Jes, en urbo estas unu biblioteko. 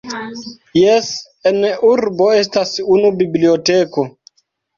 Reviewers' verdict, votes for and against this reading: rejected, 1, 2